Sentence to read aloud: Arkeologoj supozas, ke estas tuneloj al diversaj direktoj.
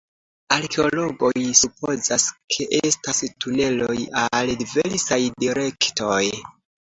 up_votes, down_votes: 2, 1